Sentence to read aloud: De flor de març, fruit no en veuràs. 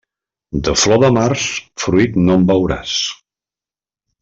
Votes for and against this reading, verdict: 2, 0, accepted